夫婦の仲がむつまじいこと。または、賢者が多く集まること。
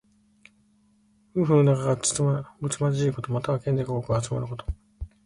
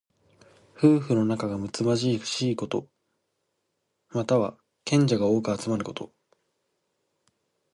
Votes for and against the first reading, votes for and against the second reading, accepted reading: 1, 2, 2, 0, second